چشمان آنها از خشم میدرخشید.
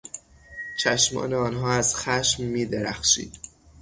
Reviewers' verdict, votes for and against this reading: rejected, 0, 3